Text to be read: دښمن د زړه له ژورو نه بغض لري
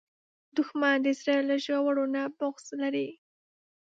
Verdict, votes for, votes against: accepted, 2, 0